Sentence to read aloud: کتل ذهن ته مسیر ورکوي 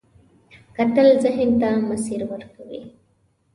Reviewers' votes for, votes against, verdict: 2, 0, accepted